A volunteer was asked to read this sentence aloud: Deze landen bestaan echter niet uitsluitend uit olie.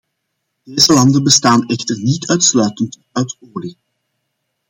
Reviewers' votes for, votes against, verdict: 2, 1, accepted